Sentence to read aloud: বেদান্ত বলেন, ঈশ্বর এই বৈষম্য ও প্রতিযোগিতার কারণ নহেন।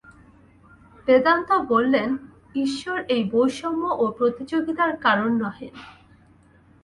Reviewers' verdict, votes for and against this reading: rejected, 0, 2